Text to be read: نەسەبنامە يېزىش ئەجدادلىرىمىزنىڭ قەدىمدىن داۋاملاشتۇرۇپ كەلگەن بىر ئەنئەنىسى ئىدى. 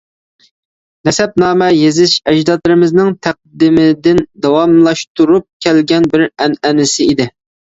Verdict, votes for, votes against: rejected, 0, 2